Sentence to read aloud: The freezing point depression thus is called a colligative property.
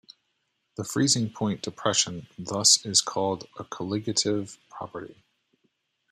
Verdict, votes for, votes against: rejected, 1, 2